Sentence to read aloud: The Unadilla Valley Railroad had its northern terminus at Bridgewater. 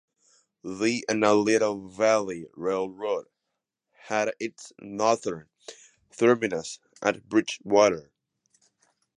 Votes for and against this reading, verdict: 1, 2, rejected